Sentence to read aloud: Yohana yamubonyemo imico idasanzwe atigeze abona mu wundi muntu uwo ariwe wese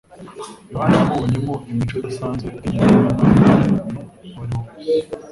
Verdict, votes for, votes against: rejected, 1, 2